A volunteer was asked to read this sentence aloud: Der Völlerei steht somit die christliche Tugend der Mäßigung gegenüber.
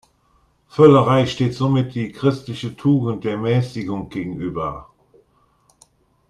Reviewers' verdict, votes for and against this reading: rejected, 0, 2